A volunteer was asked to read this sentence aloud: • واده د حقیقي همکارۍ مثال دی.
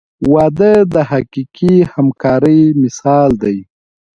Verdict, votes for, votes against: accepted, 2, 0